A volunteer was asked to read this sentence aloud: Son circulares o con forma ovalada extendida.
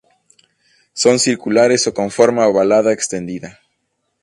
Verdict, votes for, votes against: accepted, 2, 0